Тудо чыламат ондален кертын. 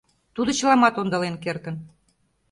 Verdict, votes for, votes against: accepted, 2, 0